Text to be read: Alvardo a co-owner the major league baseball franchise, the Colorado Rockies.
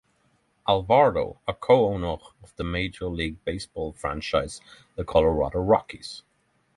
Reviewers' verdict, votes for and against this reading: rejected, 0, 3